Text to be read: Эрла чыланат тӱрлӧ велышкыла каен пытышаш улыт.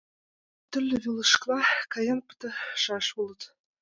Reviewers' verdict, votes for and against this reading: rejected, 0, 2